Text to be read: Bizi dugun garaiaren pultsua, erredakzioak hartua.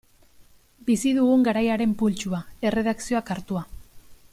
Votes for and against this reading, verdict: 2, 0, accepted